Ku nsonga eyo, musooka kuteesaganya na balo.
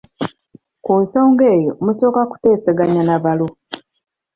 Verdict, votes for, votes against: rejected, 0, 2